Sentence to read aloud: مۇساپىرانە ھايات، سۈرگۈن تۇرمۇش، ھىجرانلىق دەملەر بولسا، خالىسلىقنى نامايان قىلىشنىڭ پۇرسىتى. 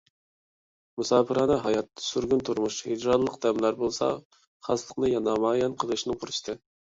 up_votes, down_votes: 1, 2